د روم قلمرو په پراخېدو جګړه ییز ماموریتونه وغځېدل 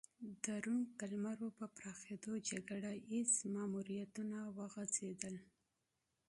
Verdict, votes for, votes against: accepted, 2, 1